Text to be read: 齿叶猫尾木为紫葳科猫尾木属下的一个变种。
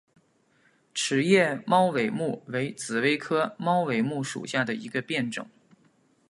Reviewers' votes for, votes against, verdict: 3, 0, accepted